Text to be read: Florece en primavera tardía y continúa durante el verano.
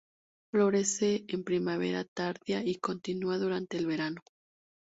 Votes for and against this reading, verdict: 0, 2, rejected